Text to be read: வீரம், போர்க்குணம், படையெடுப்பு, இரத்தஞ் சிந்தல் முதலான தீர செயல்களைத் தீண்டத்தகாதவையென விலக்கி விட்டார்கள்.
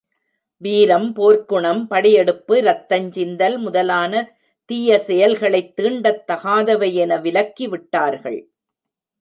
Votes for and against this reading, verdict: 0, 2, rejected